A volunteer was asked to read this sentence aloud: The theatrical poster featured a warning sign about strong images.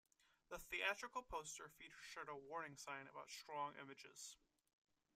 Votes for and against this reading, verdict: 2, 1, accepted